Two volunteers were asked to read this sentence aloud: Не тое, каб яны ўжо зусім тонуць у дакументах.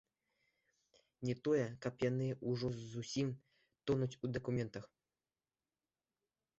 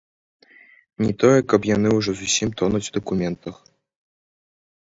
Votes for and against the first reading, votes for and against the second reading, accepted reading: 1, 2, 2, 1, second